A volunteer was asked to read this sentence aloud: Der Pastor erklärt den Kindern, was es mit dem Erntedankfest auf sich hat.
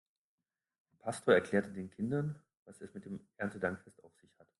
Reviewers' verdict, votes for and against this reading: rejected, 2, 3